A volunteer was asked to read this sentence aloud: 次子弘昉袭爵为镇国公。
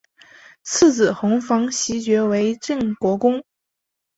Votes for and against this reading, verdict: 3, 0, accepted